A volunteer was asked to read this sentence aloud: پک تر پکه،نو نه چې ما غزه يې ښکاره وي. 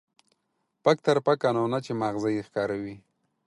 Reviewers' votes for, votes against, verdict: 4, 0, accepted